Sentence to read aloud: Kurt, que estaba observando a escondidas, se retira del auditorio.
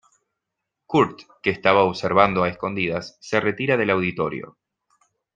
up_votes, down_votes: 2, 0